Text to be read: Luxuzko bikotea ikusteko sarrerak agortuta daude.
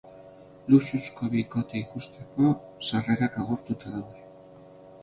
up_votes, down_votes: 3, 0